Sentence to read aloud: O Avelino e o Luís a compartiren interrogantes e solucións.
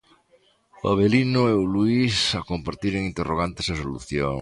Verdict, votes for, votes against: rejected, 0, 2